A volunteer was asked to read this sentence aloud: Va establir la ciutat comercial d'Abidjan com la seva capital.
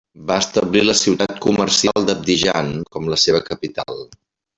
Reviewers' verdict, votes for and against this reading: rejected, 1, 2